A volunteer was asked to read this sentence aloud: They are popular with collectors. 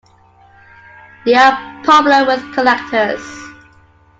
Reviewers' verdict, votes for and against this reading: accepted, 2, 0